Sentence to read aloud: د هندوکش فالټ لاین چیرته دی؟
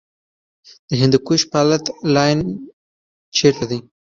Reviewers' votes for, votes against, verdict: 1, 2, rejected